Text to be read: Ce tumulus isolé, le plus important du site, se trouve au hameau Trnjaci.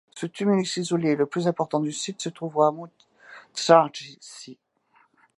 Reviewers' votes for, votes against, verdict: 1, 2, rejected